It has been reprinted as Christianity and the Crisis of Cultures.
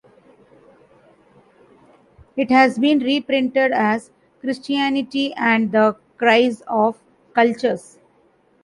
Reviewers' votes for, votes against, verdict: 0, 2, rejected